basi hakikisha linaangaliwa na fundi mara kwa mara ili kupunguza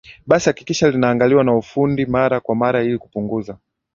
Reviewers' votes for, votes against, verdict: 2, 0, accepted